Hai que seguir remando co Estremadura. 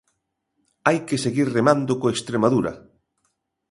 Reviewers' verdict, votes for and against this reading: accepted, 2, 0